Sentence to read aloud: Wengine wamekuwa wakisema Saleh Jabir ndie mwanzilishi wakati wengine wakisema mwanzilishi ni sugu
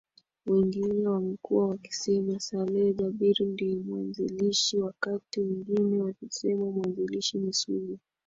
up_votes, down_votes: 6, 7